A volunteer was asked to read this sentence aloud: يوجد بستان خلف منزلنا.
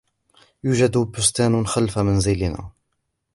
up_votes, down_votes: 2, 0